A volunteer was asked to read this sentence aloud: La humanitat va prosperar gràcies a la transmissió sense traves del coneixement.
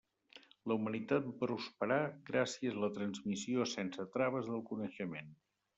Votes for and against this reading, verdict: 0, 2, rejected